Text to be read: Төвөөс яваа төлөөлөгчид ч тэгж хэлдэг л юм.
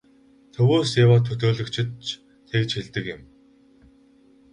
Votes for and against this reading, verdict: 2, 2, rejected